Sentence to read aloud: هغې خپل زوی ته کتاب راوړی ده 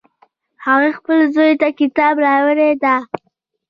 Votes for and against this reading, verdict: 0, 2, rejected